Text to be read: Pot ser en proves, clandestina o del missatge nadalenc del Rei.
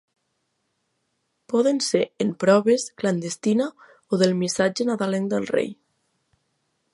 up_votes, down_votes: 1, 2